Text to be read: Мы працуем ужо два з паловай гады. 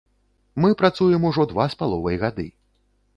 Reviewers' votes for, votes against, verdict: 3, 0, accepted